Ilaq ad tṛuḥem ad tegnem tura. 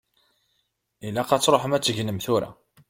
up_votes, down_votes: 2, 0